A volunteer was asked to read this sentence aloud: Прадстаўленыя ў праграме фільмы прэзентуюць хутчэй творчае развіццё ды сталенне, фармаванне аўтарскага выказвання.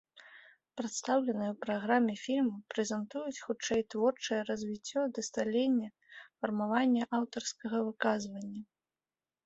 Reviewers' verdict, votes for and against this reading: accepted, 2, 1